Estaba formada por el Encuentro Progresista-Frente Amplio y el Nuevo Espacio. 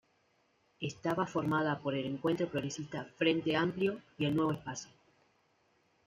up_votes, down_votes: 2, 0